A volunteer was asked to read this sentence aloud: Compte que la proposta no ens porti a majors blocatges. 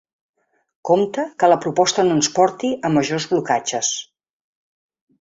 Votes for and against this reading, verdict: 4, 0, accepted